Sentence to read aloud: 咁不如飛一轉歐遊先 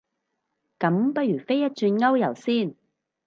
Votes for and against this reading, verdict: 2, 2, rejected